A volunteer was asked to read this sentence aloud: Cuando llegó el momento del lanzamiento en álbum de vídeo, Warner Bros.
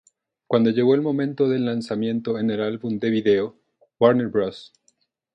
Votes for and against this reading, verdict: 0, 2, rejected